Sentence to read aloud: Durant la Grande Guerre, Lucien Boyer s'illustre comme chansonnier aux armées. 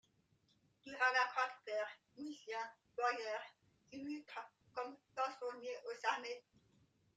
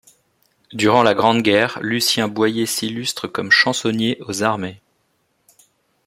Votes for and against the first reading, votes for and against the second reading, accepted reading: 1, 2, 2, 0, second